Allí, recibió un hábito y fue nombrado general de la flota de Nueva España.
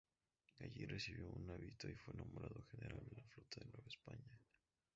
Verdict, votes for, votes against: rejected, 0, 4